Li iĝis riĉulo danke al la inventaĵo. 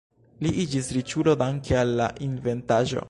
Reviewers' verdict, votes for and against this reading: rejected, 1, 2